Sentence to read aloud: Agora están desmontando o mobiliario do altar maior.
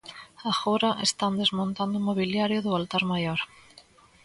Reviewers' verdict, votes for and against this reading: accepted, 2, 0